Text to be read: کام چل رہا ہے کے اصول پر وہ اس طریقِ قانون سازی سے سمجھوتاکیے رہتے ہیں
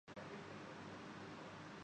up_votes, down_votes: 0, 2